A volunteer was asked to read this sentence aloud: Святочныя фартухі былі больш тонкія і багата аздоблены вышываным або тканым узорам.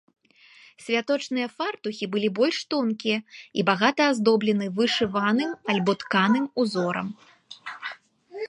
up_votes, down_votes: 1, 2